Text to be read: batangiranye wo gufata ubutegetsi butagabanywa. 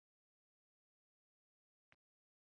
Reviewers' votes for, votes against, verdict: 0, 2, rejected